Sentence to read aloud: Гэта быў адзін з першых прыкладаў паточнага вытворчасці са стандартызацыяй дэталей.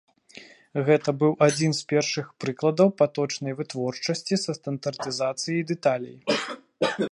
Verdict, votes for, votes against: rejected, 1, 2